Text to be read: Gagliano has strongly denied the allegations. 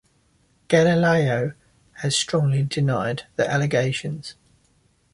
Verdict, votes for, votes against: rejected, 1, 2